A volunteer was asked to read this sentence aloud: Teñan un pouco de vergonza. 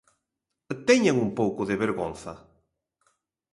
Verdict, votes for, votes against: accepted, 2, 0